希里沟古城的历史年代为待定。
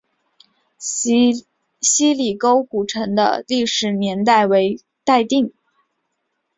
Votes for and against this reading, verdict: 0, 2, rejected